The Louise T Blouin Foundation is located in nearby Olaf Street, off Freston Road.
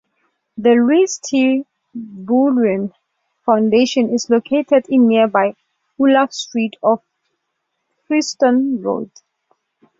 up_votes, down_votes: 2, 0